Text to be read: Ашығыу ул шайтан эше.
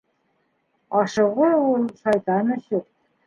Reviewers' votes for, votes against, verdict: 1, 2, rejected